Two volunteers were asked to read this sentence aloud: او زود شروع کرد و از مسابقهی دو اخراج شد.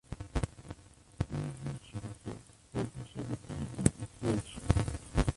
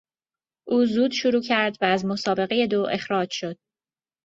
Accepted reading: second